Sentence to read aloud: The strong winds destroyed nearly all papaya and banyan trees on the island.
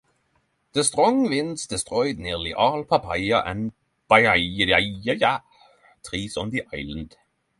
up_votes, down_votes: 3, 3